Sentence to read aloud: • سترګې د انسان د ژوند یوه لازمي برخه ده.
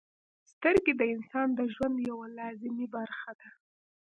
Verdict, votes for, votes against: accepted, 3, 0